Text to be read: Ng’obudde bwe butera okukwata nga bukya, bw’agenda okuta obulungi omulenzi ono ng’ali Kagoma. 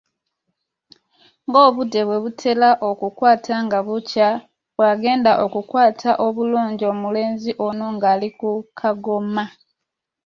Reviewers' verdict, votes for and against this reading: rejected, 1, 2